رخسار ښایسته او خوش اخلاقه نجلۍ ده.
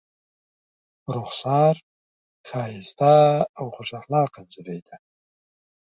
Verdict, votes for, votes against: accepted, 2, 0